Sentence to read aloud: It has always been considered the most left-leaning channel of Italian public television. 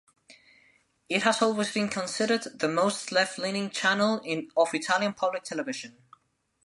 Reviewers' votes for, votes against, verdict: 1, 2, rejected